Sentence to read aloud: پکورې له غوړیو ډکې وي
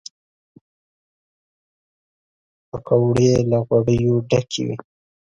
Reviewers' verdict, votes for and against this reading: accepted, 2, 0